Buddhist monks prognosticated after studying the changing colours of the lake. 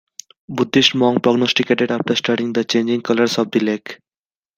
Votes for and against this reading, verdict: 1, 2, rejected